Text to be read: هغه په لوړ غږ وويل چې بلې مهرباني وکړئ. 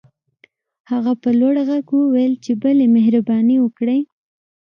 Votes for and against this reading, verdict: 2, 0, accepted